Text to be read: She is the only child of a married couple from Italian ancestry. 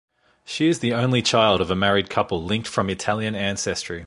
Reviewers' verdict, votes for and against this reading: rejected, 0, 2